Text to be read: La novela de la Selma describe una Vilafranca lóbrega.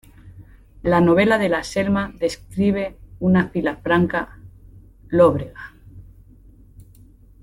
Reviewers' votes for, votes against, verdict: 2, 1, accepted